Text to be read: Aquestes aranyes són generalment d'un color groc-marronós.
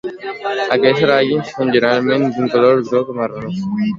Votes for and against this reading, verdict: 0, 2, rejected